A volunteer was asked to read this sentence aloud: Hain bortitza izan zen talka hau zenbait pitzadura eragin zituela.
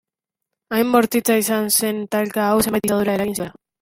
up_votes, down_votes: 0, 2